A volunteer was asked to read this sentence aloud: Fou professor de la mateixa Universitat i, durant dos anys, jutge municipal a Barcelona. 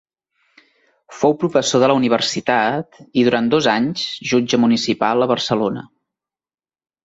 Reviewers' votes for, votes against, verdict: 1, 2, rejected